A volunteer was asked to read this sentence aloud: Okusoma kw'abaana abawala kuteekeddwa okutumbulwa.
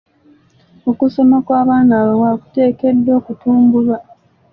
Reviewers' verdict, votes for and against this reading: accepted, 2, 0